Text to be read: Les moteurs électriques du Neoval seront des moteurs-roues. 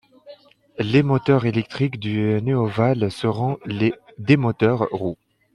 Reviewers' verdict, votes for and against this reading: rejected, 0, 2